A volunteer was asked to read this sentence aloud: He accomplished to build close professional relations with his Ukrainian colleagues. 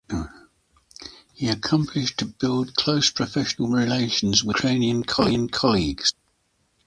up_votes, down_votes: 0, 2